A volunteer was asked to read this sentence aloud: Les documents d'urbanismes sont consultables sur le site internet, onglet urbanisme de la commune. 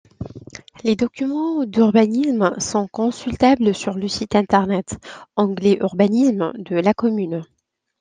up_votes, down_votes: 2, 0